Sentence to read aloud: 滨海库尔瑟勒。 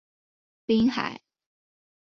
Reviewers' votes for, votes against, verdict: 0, 2, rejected